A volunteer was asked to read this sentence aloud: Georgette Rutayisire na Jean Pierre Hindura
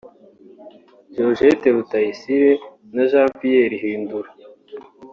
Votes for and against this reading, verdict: 4, 0, accepted